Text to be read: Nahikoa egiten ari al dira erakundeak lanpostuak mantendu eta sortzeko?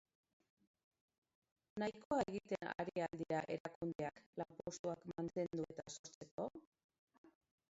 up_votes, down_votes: 0, 2